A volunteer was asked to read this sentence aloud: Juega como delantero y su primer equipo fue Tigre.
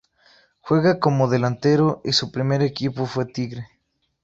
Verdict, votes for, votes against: rejected, 2, 2